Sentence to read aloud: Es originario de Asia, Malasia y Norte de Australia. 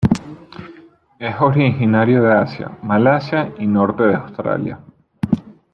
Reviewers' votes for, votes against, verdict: 2, 1, accepted